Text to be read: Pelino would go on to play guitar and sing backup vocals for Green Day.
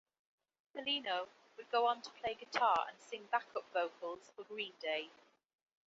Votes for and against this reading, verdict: 2, 0, accepted